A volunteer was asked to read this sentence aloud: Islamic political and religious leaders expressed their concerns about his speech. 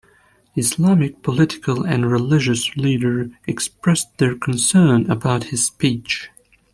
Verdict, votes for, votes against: rejected, 0, 2